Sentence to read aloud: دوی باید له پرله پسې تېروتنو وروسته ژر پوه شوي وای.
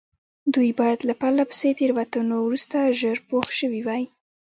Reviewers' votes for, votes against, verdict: 2, 1, accepted